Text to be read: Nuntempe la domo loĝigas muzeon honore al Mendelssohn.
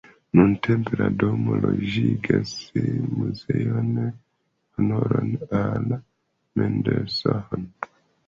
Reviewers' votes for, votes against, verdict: 2, 0, accepted